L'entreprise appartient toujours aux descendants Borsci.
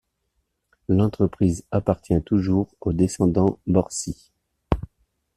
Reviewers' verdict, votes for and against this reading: accepted, 2, 0